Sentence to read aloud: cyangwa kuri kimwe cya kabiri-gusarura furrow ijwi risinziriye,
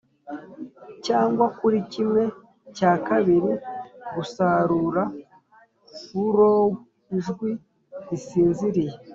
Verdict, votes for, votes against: accepted, 3, 0